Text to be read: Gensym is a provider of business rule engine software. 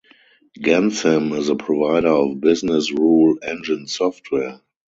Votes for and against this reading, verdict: 2, 4, rejected